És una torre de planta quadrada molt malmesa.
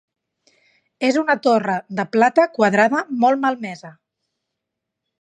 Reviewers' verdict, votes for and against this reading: rejected, 0, 2